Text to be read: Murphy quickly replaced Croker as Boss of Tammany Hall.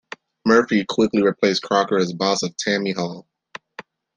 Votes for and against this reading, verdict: 2, 1, accepted